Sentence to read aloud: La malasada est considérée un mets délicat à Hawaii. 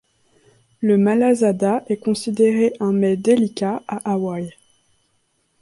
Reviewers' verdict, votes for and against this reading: rejected, 1, 3